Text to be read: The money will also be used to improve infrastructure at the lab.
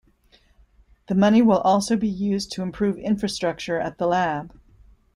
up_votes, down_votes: 2, 0